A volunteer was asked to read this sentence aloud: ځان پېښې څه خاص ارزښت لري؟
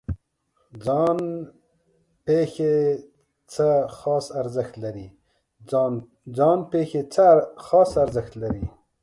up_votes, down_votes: 2, 1